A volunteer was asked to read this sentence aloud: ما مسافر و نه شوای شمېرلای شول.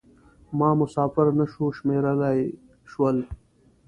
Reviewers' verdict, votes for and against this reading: rejected, 1, 2